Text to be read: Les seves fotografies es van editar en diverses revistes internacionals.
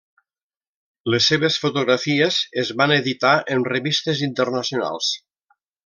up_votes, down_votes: 0, 2